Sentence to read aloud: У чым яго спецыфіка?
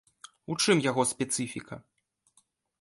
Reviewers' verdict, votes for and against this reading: accepted, 2, 0